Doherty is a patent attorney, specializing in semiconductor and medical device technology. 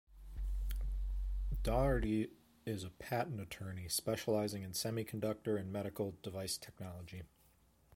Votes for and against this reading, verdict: 2, 1, accepted